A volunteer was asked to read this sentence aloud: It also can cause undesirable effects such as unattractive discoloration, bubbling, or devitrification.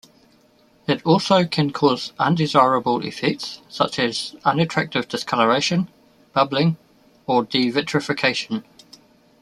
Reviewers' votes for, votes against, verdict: 2, 0, accepted